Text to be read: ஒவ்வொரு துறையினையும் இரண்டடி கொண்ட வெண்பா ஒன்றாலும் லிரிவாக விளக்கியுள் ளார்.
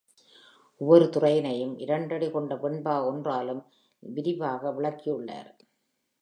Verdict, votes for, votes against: accepted, 3, 2